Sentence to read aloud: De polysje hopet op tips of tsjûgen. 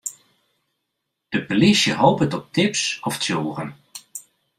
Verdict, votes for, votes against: accepted, 2, 0